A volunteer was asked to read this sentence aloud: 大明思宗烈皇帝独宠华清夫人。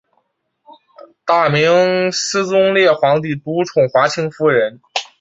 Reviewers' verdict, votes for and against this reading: accepted, 4, 0